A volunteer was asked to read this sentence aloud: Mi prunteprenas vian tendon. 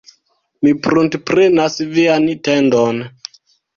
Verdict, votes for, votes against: rejected, 1, 2